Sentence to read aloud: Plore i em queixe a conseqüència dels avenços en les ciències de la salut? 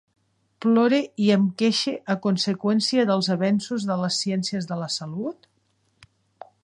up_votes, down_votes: 1, 2